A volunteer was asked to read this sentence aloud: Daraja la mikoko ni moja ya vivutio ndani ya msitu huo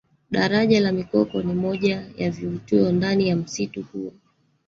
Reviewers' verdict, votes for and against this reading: rejected, 1, 2